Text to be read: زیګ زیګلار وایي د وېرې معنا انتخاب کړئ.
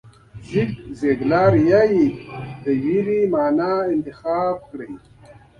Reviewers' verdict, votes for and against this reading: rejected, 1, 2